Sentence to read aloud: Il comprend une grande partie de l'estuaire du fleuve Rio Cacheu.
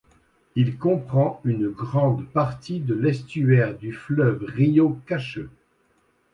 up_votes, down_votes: 2, 0